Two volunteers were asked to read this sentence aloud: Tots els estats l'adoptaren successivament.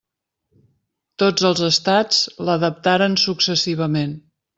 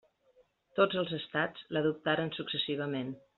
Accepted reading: second